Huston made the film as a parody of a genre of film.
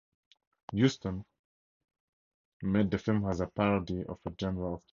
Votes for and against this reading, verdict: 0, 4, rejected